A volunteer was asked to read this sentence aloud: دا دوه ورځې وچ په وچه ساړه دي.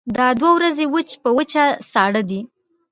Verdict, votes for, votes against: accepted, 2, 0